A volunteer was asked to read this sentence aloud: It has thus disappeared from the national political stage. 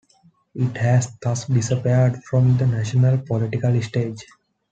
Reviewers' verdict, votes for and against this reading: accepted, 2, 1